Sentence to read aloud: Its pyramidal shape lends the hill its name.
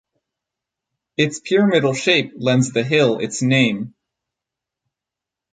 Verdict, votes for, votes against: rejected, 2, 2